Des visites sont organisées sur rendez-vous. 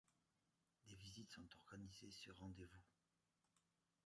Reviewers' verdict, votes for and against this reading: rejected, 0, 2